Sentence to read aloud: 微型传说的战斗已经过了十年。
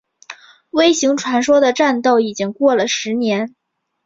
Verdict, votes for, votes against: accepted, 2, 0